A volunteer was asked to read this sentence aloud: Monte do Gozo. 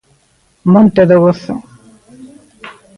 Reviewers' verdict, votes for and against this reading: accepted, 2, 0